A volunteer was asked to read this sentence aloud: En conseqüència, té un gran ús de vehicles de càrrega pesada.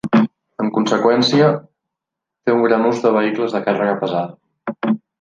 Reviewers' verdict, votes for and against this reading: accepted, 2, 0